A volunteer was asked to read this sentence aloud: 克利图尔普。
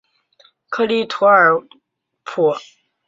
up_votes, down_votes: 2, 0